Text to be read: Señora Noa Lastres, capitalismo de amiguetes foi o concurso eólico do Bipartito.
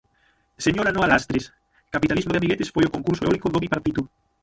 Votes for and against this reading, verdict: 0, 6, rejected